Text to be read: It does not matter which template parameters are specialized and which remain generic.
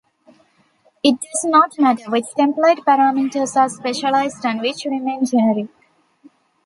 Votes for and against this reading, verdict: 1, 2, rejected